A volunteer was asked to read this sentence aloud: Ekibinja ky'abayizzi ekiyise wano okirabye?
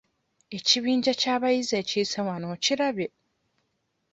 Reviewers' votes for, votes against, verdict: 1, 2, rejected